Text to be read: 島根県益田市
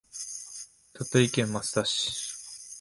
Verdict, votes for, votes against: rejected, 0, 2